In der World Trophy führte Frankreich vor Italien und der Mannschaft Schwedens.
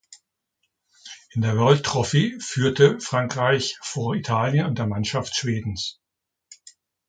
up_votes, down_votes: 2, 0